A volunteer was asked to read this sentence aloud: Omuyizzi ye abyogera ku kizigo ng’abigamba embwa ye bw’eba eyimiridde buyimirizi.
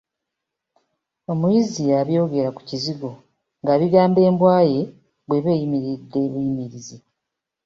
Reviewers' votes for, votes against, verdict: 0, 2, rejected